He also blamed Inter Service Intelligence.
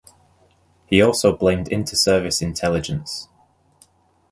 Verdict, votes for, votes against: accepted, 2, 0